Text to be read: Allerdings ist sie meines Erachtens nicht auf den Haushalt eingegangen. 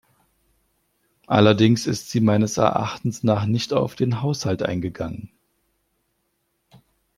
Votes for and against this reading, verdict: 1, 2, rejected